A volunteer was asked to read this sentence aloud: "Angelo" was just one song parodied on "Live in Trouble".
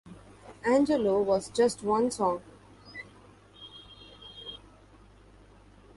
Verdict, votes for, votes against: rejected, 0, 2